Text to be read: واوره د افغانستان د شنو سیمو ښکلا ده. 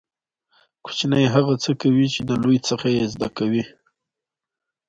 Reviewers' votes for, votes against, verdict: 1, 2, rejected